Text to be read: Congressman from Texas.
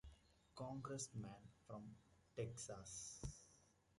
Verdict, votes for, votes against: rejected, 0, 2